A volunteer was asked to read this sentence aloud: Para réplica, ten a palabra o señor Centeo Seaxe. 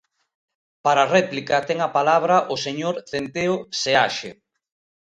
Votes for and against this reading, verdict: 2, 0, accepted